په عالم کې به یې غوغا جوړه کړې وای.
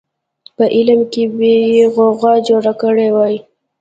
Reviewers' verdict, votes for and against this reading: rejected, 0, 2